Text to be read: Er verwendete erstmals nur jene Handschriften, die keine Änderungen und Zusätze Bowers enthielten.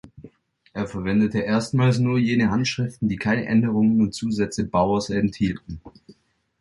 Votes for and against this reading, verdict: 2, 0, accepted